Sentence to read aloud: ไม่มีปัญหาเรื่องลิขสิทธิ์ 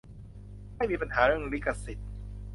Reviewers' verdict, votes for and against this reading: accepted, 2, 0